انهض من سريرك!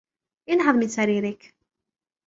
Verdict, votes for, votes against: rejected, 0, 2